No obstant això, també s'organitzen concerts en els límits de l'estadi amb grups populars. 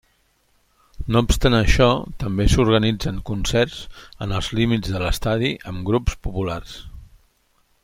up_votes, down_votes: 3, 0